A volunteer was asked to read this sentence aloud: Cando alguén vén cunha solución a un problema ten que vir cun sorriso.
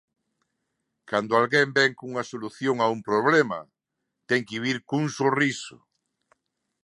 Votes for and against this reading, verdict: 2, 0, accepted